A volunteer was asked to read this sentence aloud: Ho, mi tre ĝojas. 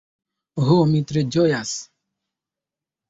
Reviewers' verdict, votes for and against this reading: accepted, 3, 0